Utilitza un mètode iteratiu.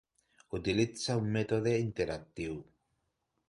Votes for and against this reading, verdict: 0, 2, rejected